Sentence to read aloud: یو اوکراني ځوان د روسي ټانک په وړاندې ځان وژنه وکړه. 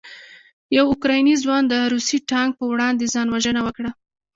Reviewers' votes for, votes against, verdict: 2, 1, accepted